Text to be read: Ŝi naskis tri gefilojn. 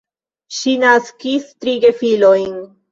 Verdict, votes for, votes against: accepted, 2, 0